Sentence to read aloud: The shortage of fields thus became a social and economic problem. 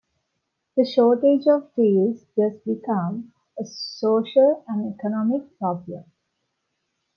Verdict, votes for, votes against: rejected, 0, 2